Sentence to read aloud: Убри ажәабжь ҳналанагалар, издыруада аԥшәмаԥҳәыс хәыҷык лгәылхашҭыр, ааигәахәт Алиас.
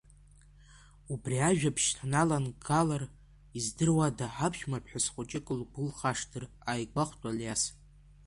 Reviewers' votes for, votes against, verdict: 2, 1, accepted